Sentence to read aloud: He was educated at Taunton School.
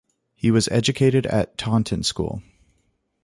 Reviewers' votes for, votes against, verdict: 2, 0, accepted